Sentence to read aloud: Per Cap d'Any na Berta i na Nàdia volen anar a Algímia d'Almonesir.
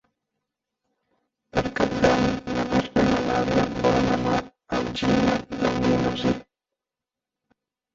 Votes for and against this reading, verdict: 0, 2, rejected